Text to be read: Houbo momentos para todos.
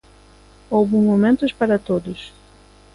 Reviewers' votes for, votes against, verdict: 2, 0, accepted